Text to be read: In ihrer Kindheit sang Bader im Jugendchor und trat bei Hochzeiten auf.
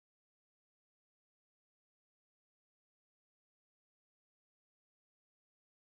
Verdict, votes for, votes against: rejected, 0, 2